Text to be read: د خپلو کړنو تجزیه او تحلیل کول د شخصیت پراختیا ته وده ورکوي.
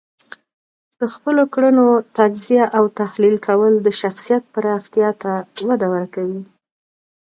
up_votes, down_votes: 1, 2